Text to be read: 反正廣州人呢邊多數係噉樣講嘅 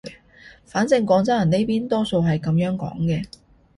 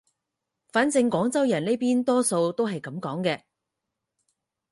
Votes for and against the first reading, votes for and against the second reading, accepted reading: 2, 0, 0, 4, first